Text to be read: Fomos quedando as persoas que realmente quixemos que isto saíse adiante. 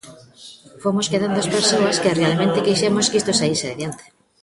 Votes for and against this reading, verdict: 2, 0, accepted